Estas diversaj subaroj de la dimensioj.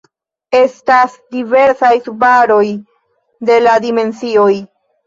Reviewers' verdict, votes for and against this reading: rejected, 1, 2